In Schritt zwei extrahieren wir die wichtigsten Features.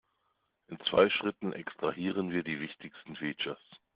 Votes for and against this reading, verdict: 0, 2, rejected